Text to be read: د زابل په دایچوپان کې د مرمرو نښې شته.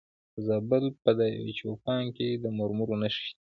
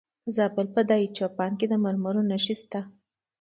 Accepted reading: second